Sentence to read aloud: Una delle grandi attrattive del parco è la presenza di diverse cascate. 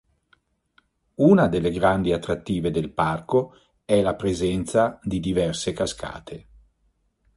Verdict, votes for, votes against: accepted, 2, 0